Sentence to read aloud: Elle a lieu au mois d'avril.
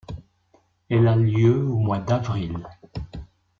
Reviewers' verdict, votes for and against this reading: accepted, 2, 0